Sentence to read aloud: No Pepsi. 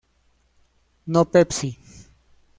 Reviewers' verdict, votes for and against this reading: accepted, 2, 0